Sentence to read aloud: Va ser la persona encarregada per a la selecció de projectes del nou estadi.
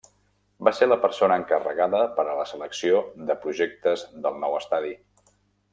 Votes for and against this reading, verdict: 3, 0, accepted